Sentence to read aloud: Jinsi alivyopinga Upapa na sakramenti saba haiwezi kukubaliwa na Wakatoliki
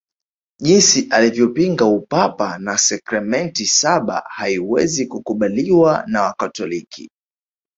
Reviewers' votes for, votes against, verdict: 0, 2, rejected